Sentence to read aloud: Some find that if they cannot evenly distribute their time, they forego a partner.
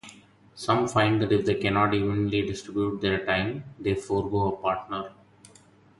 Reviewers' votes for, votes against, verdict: 4, 0, accepted